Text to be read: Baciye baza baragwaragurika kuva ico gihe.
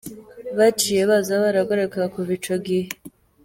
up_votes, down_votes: 1, 2